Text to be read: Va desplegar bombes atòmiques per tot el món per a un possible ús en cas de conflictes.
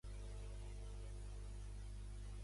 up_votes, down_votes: 1, 2